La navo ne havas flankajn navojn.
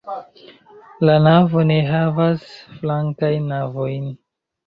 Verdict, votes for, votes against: accepted, 2, 0